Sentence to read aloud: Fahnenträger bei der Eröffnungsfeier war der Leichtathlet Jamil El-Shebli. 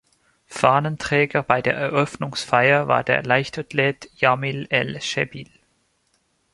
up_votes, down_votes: 2, 0